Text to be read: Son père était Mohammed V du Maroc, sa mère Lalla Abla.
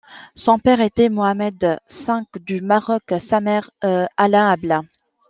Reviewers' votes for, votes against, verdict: 0, 2, rejected